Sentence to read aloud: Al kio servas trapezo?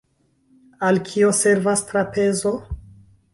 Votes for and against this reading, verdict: 1, 2, rejected